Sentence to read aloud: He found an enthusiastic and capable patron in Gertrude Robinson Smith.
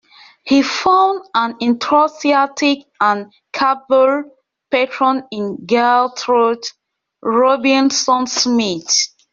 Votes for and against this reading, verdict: 0, 2, rejected